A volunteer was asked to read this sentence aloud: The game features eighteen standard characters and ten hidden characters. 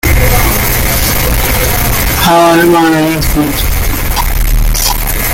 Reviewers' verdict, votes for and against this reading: rejected, 0, 2